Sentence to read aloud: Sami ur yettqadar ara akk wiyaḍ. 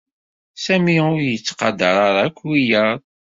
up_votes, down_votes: 2, 0